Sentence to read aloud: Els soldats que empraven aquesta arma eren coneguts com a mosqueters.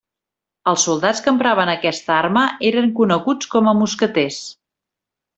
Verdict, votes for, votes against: accepted, 2, 0